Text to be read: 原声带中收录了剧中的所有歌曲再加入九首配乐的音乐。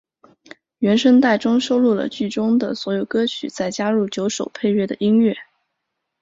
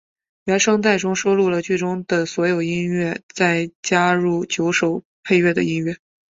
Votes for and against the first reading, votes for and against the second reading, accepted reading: 1, 2, 3, 0, second